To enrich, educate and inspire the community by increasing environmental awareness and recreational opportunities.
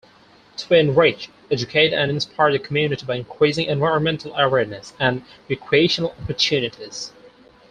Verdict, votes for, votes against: accepted, 4, 0